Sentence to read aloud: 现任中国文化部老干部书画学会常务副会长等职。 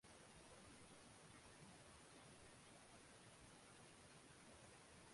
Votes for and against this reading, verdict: 0, 2, rejected